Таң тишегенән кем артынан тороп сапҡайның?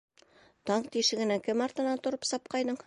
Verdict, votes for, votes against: accepted, 2, 0